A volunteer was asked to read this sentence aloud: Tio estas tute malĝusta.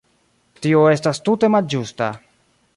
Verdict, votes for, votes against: rejected, 2, 3